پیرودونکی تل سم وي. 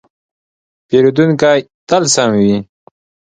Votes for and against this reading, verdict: 2, 0, accepted